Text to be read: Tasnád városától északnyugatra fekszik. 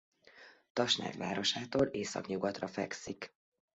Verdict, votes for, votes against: accepted, 2, 0